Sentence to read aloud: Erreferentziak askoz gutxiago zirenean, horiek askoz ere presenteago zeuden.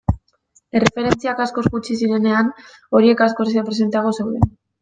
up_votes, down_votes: 1, 2